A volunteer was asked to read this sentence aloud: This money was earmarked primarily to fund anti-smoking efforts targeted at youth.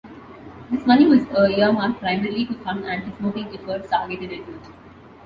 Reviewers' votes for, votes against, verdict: 0, 2, rejected